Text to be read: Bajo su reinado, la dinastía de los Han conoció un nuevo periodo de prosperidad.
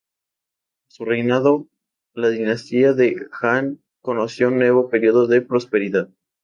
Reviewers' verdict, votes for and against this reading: rejected, 0, 2